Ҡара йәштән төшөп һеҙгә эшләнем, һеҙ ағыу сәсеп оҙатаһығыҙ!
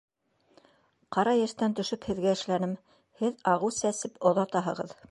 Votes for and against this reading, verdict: 3, 0, accepted